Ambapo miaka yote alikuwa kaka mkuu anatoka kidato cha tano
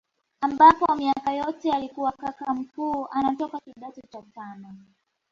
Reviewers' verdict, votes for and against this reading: rejected, 0, 2